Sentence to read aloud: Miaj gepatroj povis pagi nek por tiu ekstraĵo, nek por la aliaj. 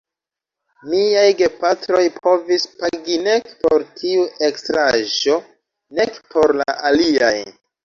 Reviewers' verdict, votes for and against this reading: accepted, 2, 1